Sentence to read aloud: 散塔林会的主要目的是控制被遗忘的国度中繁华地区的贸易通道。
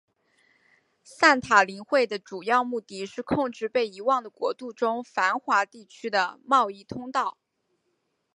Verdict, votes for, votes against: accepted, 5, 1